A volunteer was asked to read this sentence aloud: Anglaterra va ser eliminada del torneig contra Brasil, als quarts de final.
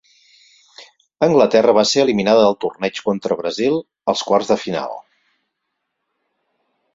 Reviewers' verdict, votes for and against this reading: accepted, 4, 0